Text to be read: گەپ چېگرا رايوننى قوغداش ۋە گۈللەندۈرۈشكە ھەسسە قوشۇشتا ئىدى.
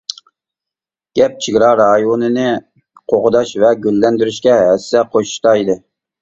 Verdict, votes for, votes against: rejected, 1, 2